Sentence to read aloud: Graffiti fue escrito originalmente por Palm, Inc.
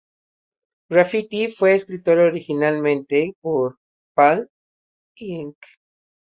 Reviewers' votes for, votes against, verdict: 0, 2, rejected